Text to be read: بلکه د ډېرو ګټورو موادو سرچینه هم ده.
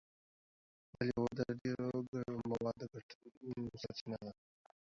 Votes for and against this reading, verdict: 0, 2, rejected